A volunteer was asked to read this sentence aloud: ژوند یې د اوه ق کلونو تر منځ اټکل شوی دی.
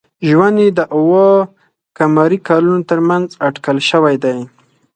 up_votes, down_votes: 4, 0